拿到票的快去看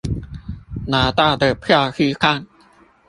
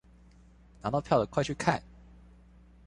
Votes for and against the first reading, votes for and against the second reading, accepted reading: 0, 2, 2, 0, second